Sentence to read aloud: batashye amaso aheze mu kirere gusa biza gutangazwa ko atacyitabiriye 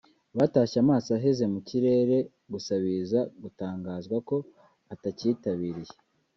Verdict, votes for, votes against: accepted, 2, 0